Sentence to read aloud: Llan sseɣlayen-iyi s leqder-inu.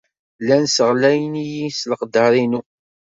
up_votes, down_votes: 2, 0